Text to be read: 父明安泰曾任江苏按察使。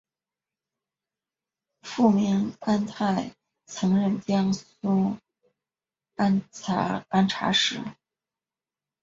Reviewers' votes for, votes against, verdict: 0, 2, rejected